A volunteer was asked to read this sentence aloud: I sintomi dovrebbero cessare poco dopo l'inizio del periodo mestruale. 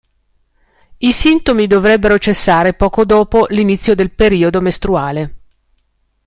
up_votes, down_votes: 2, 0